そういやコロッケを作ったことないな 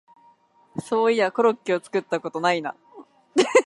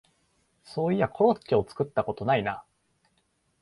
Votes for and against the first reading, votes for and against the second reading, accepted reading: 1, 2, 2, 0, second